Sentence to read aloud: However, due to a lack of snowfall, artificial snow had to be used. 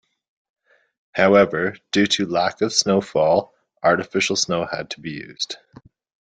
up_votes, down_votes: 2, 0